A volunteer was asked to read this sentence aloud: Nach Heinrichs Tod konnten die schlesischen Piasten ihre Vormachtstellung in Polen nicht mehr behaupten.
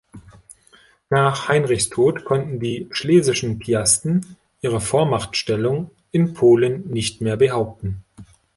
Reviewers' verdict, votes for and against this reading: accepted, 2, 0